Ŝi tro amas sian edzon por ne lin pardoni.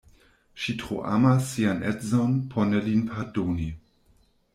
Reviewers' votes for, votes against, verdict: 1, 2, rejected